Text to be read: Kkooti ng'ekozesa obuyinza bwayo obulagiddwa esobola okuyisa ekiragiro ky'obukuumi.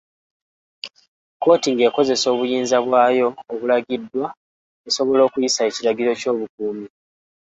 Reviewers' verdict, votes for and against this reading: accepted, 2, 0